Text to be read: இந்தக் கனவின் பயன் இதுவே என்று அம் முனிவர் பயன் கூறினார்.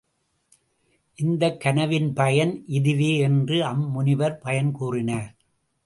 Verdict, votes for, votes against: accepted, 2, 0